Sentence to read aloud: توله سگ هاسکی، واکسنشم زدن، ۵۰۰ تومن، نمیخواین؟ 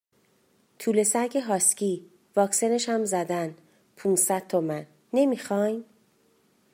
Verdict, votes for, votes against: rejected, 0, 2